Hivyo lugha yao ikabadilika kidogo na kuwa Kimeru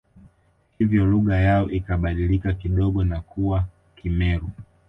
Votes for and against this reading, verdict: 3, 0, accepted